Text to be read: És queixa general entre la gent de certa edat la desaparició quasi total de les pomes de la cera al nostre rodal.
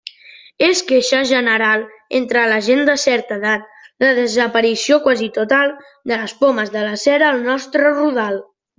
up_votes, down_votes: 2, 0